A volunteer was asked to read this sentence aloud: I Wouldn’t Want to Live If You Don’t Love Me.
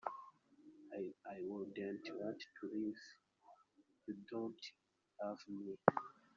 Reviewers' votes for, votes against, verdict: 0, 2, rejected